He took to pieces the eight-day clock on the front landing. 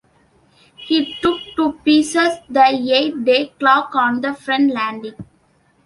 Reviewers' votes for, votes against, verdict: 2, 0, accepted